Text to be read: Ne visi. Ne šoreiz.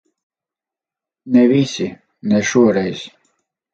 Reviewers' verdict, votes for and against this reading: accepted, 4, 0